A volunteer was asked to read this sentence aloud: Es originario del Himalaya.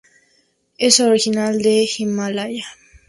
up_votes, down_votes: 0, 2